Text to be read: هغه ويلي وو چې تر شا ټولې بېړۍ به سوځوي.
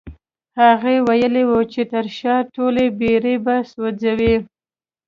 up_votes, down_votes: 2, 1